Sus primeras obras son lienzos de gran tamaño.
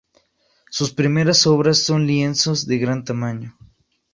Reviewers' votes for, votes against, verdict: 4, 2, accepted